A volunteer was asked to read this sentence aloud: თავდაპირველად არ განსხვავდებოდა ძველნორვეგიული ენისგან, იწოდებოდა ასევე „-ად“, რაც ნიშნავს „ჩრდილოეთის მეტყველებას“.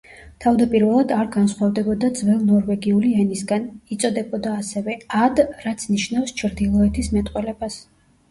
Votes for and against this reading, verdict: 1, 2, rejected